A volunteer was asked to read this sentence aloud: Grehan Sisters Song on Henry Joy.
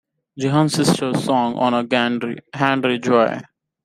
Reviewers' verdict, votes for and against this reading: rejected, 1, 2